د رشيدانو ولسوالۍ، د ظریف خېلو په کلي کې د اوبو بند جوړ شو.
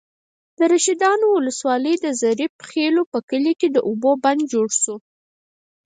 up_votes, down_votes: 4, 0